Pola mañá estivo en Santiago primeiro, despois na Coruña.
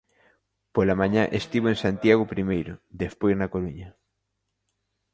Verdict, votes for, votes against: accepted, 3, 0